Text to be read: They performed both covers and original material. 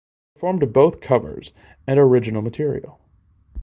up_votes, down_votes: 0, 4